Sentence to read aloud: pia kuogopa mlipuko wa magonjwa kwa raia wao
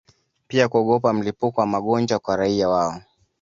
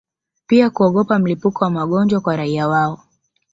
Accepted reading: first